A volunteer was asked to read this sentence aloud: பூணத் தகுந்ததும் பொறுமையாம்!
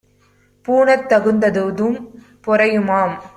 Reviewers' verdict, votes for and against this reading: rejected, 1, 2